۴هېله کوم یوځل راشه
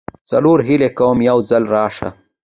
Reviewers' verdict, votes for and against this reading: rejected, 0, 2